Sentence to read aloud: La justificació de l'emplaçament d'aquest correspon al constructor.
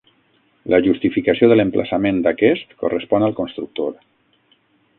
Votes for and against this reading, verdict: 3, 6, rejected